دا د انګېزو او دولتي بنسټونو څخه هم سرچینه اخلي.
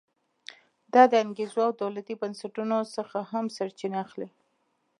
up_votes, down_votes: 2, 0